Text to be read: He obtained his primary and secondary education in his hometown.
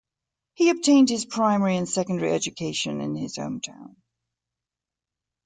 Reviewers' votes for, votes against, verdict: 2, 0, accepted